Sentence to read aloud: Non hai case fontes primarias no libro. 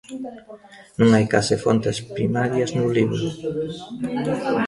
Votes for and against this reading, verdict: 0, 2, rejected